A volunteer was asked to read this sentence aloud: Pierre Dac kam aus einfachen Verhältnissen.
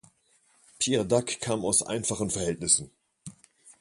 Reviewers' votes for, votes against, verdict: 2, 0, accepted